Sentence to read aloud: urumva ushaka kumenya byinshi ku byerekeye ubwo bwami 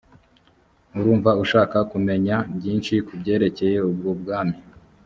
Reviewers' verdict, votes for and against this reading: accepted, 4, 0